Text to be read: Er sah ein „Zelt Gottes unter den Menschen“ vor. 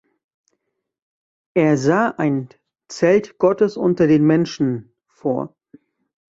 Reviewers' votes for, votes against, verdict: 1, 2, rejected